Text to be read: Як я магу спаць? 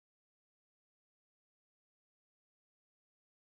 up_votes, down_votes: 0, 3